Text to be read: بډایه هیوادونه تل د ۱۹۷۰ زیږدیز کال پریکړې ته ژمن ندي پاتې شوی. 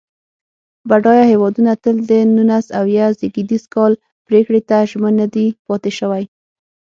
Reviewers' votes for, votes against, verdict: 0, 2, rejected